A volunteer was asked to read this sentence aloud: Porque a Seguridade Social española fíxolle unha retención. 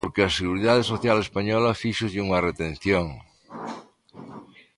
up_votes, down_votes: 2, 0